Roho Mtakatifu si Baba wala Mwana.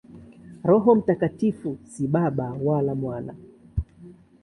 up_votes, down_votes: 2, 0